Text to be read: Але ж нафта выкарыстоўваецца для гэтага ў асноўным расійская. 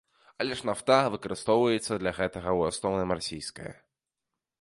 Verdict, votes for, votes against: rejected, 1, 2